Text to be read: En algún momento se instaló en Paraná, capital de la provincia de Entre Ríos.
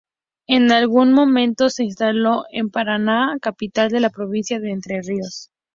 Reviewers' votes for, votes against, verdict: 2, 0, accepted